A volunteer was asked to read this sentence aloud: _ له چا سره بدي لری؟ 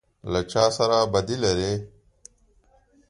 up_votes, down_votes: 2, 0